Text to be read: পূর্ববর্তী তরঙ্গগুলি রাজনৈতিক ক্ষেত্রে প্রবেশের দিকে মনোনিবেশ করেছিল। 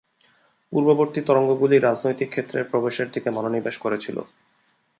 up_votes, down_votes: 2, 0